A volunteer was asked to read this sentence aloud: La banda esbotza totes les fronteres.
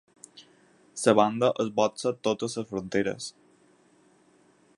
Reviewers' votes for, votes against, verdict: 4, 0, accepted